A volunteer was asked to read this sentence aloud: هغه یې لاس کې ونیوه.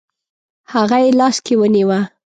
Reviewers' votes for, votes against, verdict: 2, 0, accepted